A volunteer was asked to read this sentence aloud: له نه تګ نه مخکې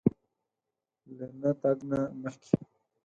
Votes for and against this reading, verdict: 0, 4, rejected